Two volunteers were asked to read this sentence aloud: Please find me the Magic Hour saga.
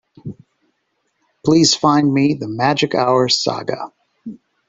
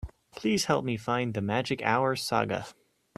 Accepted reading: first